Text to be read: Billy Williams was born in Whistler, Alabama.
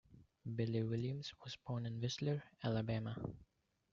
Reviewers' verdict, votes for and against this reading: accepted, 2, 1